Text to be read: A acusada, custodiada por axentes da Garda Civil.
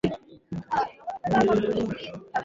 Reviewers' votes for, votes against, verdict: 1, 2, rejected